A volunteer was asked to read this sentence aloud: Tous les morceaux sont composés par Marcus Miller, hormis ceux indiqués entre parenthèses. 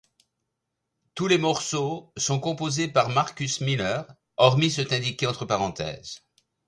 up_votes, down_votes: 0, 2